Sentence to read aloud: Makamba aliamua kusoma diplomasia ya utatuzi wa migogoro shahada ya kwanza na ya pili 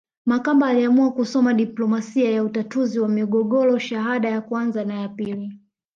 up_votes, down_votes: 2, 0